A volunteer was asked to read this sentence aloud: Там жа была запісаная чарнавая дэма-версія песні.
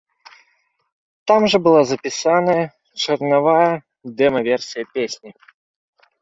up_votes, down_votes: 2, 0